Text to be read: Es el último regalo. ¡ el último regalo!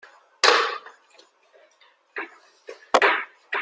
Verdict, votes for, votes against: rejected, 0, 2